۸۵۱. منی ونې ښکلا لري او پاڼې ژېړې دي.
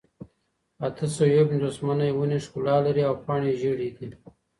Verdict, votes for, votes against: rejected, 0, 2